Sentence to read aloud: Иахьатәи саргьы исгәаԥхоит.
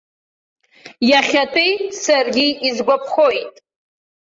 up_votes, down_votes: 0, 2